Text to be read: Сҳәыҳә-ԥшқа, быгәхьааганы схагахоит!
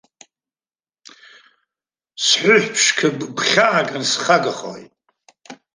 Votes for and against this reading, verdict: 2, 0, accepted